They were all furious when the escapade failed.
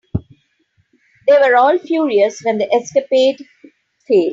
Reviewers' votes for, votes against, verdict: 2, 1, accepted